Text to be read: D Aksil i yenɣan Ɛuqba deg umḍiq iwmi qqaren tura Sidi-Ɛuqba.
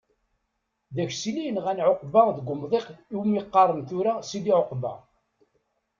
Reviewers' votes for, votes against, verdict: 2, 0, accepted